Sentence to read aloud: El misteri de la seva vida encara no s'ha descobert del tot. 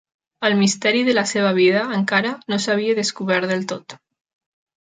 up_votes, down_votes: 0, 2